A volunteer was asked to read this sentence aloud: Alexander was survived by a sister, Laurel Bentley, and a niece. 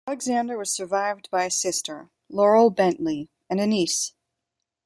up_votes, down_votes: 1, 2